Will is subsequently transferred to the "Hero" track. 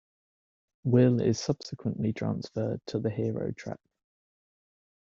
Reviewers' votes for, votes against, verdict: 2, 1, accepted